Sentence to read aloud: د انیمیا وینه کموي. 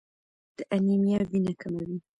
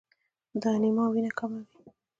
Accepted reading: second